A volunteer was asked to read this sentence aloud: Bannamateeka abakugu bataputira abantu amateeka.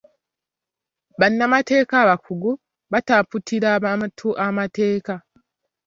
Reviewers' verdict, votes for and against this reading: rejected, 0, 3